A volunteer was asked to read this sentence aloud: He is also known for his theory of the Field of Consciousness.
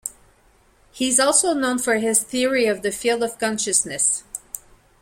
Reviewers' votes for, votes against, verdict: 0, 2, rejected